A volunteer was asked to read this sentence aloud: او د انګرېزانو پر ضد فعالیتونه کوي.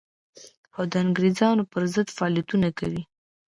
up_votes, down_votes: 1, 2